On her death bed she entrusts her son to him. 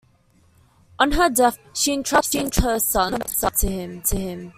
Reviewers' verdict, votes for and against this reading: rejected, 0, 2